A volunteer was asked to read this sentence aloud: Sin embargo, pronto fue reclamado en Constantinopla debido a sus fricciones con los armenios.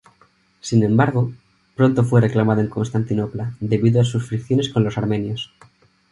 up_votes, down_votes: 2, 2